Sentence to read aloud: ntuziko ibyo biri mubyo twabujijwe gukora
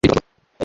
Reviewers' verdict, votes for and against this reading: rejected, 0, 2